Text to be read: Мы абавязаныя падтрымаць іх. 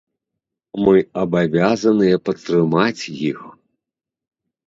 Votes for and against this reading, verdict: 2, 0, accepted